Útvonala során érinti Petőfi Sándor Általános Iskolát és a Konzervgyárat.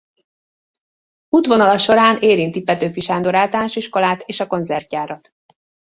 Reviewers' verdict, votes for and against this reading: rejected, 0, 2